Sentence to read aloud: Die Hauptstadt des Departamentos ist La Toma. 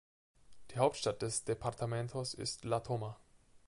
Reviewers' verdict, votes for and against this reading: accepted, 2, 0